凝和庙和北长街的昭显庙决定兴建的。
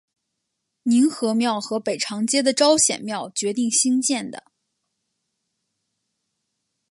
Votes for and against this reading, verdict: 2, 0, accepted